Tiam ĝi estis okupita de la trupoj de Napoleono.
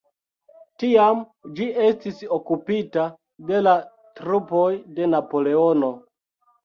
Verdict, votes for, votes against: rejected, 0, 2